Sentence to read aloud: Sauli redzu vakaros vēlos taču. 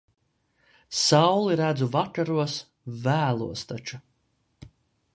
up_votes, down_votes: 2, 0